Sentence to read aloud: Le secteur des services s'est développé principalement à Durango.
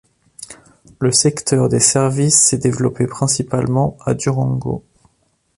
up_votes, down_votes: 2, 0